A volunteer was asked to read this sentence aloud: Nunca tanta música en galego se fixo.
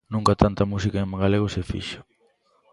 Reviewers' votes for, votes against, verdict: 0, 2, rejected